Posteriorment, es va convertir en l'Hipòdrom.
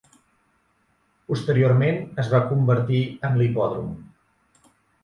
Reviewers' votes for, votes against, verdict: 3, 0, accepted